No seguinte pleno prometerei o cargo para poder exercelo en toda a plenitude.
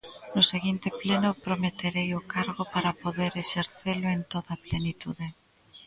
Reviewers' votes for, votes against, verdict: 2, 0, accepted